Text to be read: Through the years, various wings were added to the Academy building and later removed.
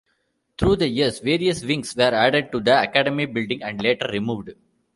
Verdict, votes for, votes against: accepted, 2, 0